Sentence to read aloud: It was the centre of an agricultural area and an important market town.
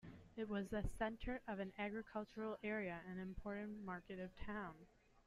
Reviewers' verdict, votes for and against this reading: rejected, 0, 3